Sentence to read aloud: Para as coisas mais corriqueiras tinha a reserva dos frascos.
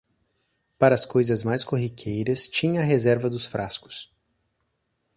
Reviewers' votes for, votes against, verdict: 4, 0, accepted